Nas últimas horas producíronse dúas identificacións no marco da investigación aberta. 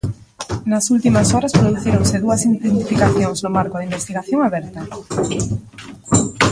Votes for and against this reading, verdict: 0, 2, rejected